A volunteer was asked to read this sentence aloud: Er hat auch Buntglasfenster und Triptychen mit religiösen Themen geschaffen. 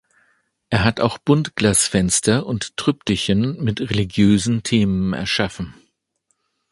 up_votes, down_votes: 0, 2